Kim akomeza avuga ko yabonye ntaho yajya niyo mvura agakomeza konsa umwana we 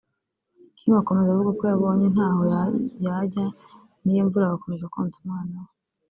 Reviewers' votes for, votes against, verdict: 0, 2, rejected